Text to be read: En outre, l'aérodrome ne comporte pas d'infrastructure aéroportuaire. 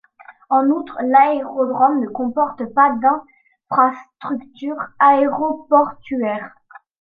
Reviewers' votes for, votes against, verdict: 0, 2, rejected